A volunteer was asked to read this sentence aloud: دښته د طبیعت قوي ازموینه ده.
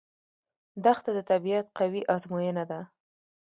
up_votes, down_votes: 0, 2